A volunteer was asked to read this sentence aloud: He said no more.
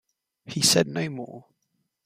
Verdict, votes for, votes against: accepted, 2, 1